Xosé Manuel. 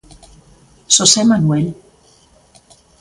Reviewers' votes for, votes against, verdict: 2, 0, accepted